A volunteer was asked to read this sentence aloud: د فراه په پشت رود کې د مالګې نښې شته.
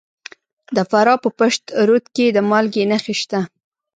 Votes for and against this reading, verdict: 1, 2, rejected